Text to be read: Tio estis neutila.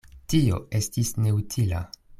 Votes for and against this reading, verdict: 2, 0, accepted